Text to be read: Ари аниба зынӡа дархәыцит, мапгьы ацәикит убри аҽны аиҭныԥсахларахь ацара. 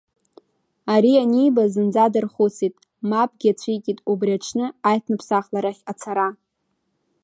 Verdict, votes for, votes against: rejected, 0, 2